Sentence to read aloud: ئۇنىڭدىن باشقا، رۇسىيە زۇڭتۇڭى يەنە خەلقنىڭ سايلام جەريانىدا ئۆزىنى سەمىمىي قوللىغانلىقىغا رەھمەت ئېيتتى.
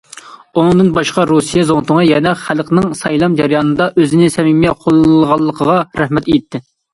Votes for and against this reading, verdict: 2, 0, accepted